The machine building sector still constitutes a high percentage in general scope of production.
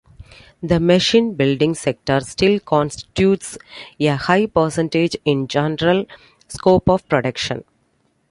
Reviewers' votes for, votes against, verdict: 2, 0, accepted